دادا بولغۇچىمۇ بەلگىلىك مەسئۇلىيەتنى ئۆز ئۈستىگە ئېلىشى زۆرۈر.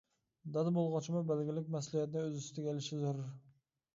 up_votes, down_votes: 2, 1